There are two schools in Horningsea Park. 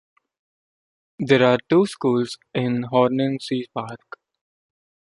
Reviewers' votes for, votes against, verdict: 2, 0, accepted